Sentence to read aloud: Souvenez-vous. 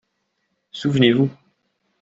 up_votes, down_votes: 2, 0